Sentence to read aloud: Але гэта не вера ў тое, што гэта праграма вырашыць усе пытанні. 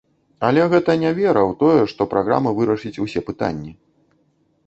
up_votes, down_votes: 0, 2